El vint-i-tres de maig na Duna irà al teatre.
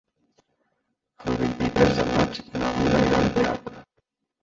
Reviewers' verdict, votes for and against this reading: rejected, 0, 2